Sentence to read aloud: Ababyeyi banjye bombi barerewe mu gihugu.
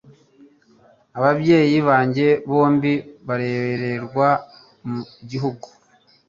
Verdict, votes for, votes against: rejected, 2, 3